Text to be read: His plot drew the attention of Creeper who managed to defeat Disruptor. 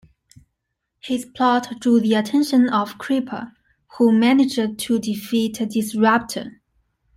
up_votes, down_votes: 2, 1